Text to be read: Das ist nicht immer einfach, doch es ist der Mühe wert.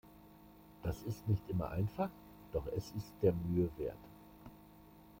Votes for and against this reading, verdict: 0, 2, rejected